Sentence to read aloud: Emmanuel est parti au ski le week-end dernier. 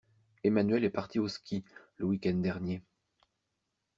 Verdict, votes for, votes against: accepted, 2, 0